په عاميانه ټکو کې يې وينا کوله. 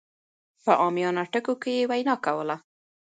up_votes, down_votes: 2, 0